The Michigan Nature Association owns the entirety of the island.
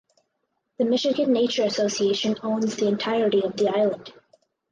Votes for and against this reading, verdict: 4, 0, accepted